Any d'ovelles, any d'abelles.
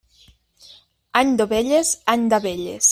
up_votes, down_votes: 2, 0